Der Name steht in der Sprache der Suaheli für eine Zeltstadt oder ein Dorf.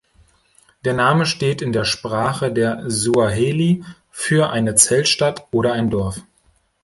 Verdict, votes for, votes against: accepted, 2, 0